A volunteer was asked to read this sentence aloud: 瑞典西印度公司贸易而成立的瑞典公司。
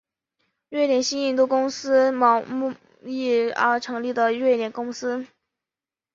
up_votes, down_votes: 2, 1